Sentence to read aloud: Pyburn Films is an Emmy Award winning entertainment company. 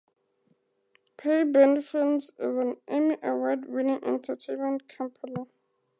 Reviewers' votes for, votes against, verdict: 2, 0, accepted